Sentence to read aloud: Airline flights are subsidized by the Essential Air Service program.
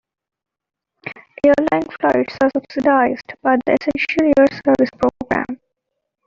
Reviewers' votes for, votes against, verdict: 0, 2, rejected